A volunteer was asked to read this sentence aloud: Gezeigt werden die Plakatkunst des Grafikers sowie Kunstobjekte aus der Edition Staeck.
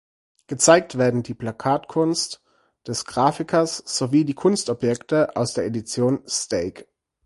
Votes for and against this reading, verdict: 0, 4, rejected